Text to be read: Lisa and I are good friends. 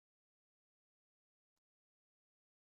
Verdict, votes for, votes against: rejected, 0, 3